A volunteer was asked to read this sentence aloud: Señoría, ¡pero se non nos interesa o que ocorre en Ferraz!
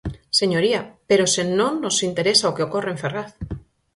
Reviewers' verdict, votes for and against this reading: accepted, 4, 0